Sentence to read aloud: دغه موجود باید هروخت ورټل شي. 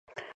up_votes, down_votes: 1, 2